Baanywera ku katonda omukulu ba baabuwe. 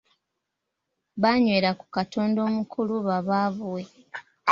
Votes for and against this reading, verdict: 2, 1, accepted